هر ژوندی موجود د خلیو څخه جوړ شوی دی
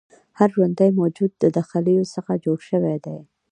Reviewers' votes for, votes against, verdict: 2, 0, accepted